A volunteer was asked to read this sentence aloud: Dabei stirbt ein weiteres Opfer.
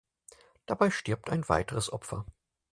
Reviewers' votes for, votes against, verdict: 4, 0, accepted